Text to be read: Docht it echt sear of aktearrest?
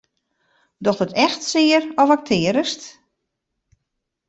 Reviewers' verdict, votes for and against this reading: rejected, 0, 2